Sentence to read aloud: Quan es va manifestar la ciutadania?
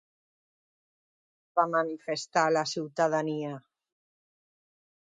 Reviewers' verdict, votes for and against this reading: rejected, 0, 2